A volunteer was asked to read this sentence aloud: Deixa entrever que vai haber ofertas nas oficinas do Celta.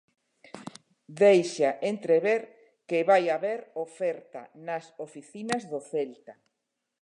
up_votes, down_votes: 0, 2